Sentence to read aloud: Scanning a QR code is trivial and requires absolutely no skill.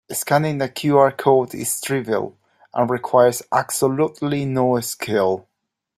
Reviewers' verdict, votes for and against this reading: accepted, 2, 0